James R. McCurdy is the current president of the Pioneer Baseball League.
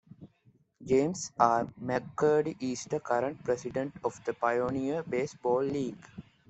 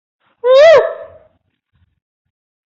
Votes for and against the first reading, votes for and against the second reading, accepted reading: 2, 0, 0, 2, first